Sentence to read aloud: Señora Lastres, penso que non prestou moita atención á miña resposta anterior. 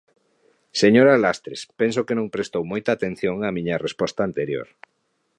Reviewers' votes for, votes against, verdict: 2, 0, accepted